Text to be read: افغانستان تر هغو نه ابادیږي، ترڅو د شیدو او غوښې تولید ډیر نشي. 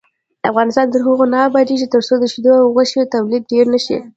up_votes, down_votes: 2, 0